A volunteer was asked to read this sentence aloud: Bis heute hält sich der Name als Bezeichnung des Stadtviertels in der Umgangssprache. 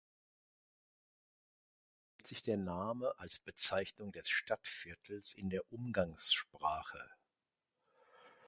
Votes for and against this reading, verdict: 0, 2, rejected